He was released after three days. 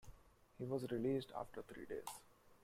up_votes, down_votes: 2, 1